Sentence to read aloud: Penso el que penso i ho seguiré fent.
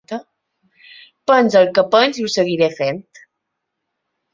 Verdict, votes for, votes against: rejected, 0, 2